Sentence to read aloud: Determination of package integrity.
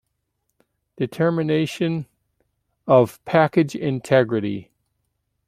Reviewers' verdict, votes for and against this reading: accepted, 2, 0